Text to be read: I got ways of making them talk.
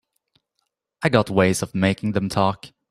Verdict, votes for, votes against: accepted, 2, 0